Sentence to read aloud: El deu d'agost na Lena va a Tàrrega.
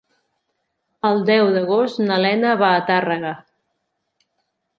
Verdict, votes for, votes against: accepted, 3, 0